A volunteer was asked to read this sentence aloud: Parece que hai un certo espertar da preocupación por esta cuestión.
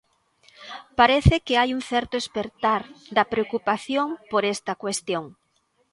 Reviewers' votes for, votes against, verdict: 2, 0, accepted